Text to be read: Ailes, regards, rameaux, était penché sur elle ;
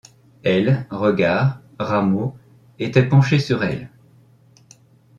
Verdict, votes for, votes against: accepted, 3, 0